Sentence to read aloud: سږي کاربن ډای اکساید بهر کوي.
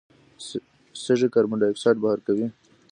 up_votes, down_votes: 1, 2